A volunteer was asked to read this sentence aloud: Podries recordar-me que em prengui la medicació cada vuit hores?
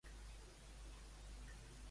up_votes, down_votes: 0, 2